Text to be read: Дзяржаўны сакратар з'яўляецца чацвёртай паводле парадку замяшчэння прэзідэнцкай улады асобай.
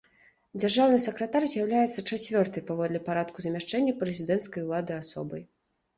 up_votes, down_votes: 3, 0